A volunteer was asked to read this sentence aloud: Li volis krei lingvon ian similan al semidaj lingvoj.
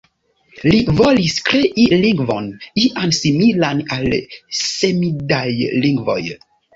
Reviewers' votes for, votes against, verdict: 1, 2, rejected